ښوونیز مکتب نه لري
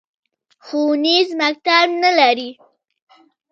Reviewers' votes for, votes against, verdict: 2, 0, accepted